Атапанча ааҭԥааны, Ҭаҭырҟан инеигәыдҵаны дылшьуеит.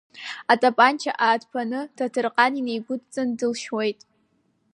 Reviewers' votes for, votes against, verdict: 4, 0, accepted